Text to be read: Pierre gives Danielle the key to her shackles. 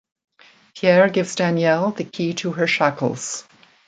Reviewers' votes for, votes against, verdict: 1, 2, rejected